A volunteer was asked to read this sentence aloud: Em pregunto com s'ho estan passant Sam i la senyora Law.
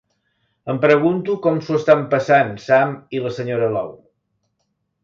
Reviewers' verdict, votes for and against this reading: accepted, 2, 0